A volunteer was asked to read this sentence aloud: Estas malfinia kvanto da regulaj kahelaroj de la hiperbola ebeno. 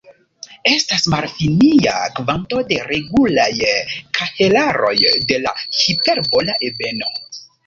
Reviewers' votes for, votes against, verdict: 0, 2, rejected